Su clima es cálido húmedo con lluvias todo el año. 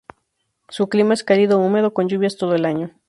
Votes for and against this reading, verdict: 2, 0, accepted